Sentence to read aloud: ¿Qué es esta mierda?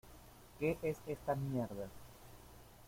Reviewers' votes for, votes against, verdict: 1, 2, rejected